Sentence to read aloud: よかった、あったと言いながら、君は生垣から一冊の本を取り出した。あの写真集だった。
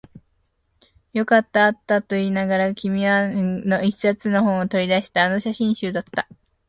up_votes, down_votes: 1, 3